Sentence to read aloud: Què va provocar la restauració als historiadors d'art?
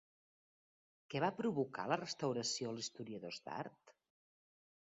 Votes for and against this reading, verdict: 2, 0, accepted